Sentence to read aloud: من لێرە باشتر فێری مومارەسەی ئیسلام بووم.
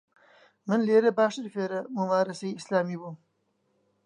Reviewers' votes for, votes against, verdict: 0, 2, rejected